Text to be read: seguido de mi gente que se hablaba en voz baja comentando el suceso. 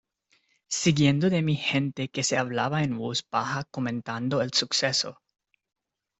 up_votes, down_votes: 0, 2